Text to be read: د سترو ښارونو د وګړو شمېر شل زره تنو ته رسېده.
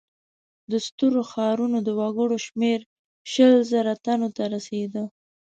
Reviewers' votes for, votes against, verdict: 2, 0, accepted